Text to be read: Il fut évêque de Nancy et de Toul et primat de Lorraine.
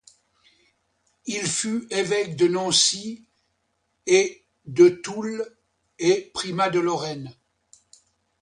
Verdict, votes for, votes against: accepted, 2, 1